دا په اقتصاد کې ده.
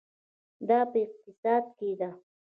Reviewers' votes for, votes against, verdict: 2, 0, accepted